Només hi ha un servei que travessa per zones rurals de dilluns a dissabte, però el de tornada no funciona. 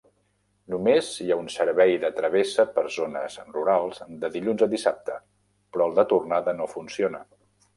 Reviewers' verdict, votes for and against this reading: rejected, 0, 2